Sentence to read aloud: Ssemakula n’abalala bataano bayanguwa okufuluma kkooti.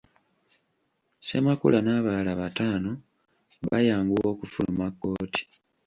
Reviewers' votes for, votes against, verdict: 2, 0, accepted